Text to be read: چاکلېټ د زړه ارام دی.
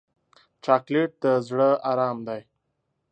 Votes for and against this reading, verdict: 2, 0, accepted